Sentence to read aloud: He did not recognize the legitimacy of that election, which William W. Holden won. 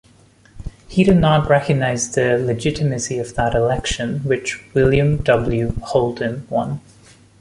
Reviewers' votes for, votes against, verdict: 1, 2, rejected